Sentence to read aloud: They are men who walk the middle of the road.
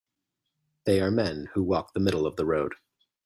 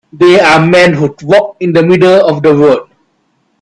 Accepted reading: first